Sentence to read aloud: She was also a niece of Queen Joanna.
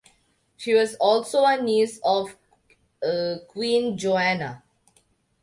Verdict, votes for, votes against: rejected, 0, 2